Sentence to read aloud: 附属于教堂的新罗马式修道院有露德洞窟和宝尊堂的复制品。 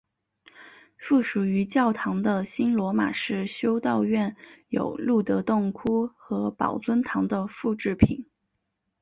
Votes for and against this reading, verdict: 3, 1, accepted